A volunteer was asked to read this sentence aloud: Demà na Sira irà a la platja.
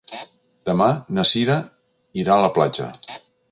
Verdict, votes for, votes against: accepted, 2, 0